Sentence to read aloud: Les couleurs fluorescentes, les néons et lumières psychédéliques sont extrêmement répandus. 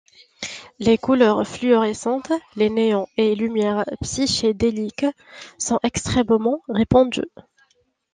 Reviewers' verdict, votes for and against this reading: accepted, 2, 0